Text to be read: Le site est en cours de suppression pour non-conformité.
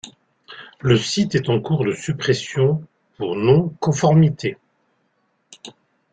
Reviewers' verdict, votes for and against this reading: accepted, 2, 0